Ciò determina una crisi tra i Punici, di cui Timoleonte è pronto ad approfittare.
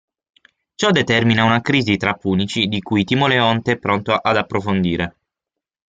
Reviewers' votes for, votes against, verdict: 0, 6, rejected